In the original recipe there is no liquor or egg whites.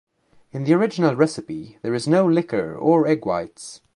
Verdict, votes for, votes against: accepted, 2, 0